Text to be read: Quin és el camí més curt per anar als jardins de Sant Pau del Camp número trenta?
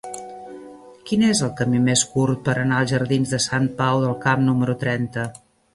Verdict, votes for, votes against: accepted, 3, 1